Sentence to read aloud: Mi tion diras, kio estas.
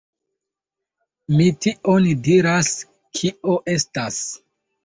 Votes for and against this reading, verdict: 2, 1, accepted